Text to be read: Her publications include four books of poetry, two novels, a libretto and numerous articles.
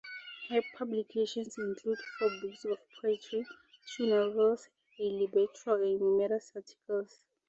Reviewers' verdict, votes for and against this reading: rejected, 0, 4